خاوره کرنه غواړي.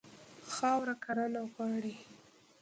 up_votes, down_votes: 1, 2